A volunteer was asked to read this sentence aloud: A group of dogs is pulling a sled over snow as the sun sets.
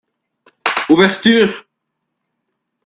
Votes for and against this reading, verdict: 0, 2, rejected